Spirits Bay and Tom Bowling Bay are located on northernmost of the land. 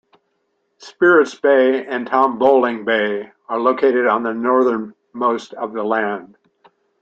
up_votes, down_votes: 1, 2